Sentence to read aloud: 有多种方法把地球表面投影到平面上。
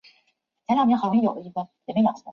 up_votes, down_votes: 3, 2